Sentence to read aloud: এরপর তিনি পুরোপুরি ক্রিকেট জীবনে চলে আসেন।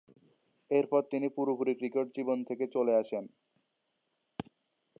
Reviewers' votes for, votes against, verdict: 0, 2, rejected